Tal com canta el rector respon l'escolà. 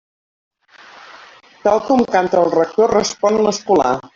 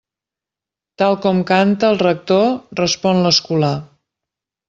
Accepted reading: second